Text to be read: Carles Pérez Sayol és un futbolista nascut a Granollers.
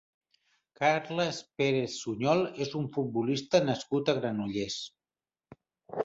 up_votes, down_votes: 1, 2